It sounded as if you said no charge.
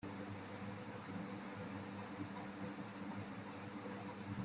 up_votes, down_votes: 0, 2